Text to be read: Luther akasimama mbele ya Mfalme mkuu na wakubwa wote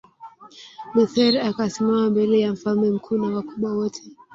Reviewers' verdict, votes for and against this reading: rejected, 2, 3